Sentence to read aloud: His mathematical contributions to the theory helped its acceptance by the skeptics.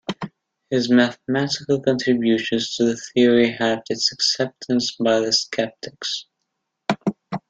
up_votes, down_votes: 2, 0